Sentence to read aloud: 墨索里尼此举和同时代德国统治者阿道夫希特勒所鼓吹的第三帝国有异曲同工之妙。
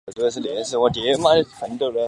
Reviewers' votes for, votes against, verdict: 1, 5, rejected